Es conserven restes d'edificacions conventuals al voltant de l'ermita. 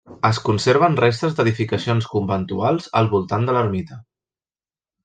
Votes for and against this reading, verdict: 3, 0, accepted